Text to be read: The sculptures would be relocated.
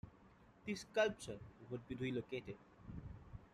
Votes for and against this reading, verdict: 2, 1, accepted